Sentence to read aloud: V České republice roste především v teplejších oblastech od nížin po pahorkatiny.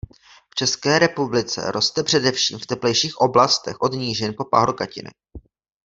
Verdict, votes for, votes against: accepted, 2, 0